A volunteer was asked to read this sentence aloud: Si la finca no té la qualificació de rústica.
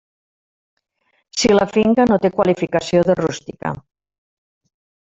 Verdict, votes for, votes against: rejected, 0, 2